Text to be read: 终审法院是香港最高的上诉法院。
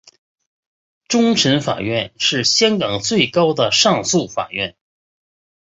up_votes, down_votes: 3, 0